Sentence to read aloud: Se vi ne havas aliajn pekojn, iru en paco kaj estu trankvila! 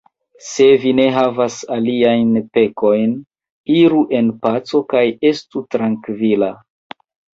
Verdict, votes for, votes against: accepted, 2, 1